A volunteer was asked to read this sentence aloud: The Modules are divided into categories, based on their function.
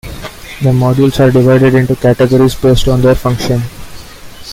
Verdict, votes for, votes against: accepted, 2, 0